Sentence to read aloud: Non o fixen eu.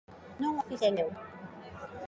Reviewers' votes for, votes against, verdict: 2, 1, accepted